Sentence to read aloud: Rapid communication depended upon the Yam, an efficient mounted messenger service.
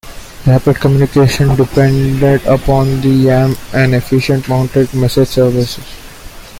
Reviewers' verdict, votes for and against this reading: rejected, 1, 2